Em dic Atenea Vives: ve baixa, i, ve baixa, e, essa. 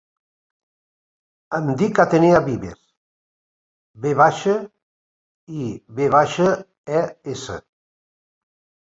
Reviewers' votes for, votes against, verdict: 0, 2, rejected